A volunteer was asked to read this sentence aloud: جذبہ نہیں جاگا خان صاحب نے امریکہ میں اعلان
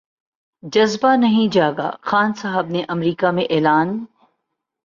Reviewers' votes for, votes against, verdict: 11, 0, accepted